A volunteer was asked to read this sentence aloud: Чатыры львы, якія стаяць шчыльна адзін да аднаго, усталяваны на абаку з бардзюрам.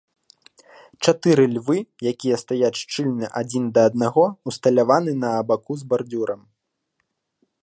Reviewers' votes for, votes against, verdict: 2, 0, accepted